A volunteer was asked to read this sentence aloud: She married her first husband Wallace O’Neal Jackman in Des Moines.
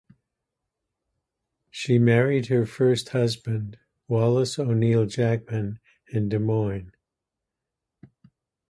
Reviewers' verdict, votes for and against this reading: rejected, 0, 2